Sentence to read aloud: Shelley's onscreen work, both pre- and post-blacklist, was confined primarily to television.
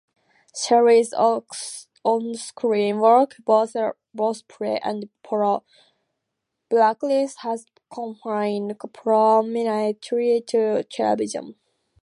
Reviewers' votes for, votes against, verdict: 0, 2, rejected